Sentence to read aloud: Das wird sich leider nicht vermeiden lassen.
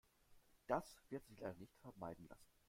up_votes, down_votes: 1, 2